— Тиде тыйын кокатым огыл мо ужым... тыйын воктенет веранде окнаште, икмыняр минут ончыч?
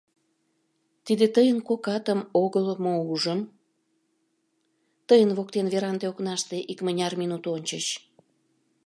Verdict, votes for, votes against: rejected, 0, 2